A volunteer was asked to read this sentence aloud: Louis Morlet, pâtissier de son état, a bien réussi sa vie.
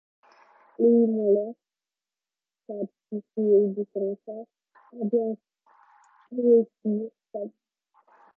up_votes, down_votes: 0, 2